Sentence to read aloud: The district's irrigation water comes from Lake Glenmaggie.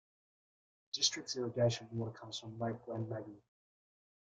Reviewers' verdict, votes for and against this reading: rejected, 1, 2